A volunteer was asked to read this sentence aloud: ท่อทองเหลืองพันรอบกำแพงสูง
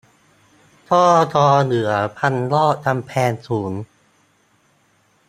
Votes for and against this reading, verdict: 0, 2, rejected